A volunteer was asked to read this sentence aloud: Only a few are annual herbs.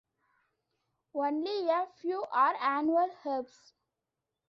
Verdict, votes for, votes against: rejected, 0, 2